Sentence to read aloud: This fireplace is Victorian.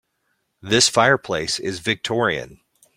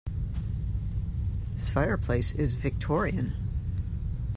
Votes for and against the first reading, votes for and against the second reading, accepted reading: 2, 0, 1, 2, first